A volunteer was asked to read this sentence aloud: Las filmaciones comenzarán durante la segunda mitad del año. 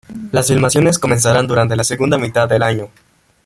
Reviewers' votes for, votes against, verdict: 0, 2, rejected